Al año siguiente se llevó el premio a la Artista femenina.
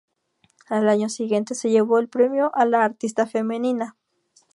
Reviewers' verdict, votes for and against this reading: accepted, 2, 0